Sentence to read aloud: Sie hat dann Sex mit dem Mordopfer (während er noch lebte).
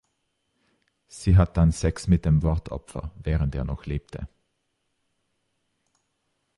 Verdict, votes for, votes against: accepted, 2, 0